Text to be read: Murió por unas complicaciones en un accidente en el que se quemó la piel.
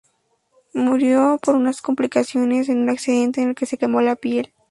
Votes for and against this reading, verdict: 2, 0, accepted